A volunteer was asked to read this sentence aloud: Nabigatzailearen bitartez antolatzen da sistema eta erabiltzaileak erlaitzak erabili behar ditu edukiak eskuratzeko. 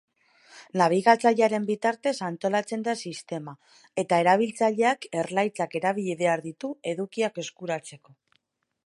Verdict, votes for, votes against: accepted, 3, 0